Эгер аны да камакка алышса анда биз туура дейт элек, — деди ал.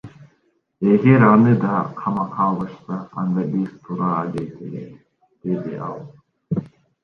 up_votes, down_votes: 2, 1